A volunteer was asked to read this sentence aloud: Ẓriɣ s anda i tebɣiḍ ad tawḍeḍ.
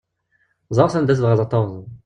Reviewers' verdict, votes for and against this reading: rejected, 1, 2